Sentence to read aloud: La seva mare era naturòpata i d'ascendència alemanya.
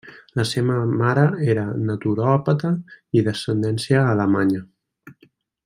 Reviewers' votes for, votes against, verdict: 1, 2, rejected